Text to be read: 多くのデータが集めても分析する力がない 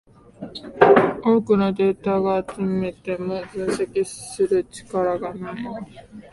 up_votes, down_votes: 0, 2